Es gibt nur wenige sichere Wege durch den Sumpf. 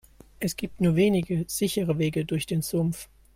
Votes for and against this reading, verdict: 2, 0, accepted